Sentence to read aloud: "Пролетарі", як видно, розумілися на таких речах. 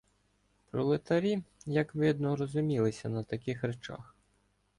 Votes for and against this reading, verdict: 2, 0, accepted